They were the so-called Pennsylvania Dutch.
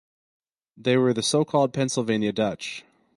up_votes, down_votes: 4, 0